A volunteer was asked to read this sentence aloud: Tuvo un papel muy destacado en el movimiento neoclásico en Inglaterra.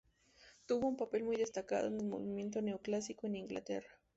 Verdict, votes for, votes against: rejected, 0, 2